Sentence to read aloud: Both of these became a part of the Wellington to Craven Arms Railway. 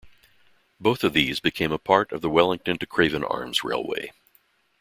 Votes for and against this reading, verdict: 2, 0, accepted